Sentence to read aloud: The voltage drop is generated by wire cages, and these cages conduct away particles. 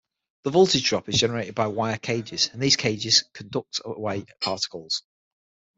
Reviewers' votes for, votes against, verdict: 6, 0, accepted